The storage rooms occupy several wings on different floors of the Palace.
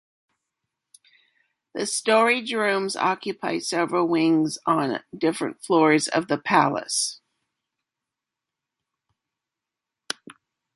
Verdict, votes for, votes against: accepted, 2, 0